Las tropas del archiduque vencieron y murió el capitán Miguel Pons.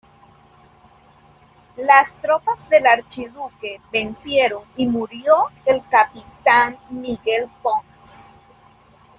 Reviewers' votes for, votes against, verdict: 2, 0, accepted